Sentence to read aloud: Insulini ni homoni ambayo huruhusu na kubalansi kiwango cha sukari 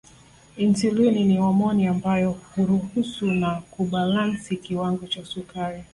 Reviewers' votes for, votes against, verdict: 2, 0, accepted